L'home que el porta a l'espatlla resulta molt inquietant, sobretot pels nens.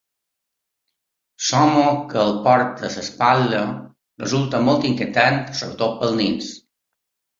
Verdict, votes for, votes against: rejected, 0, 2